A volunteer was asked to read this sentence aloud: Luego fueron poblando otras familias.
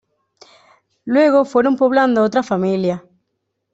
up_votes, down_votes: 2, 1